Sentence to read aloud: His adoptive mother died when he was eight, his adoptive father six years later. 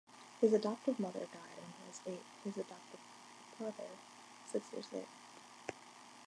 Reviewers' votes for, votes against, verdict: 1, 2, rejected